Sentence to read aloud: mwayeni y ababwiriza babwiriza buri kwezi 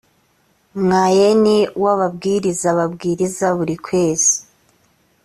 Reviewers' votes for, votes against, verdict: 0, 2, rejected